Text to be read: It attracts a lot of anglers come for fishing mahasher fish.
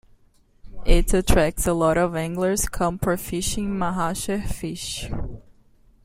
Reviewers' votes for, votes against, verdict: 2, 0, accepted